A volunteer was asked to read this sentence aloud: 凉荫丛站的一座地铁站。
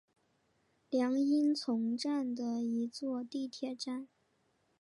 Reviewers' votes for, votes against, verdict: 4, 0, accepted